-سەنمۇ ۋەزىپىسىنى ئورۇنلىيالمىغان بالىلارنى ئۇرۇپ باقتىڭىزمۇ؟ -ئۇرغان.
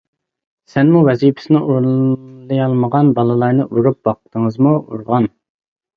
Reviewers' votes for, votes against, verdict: 2, 0, accepted